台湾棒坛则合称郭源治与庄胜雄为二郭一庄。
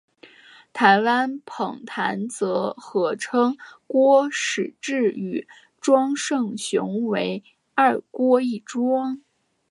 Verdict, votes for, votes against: rejected, 1, 2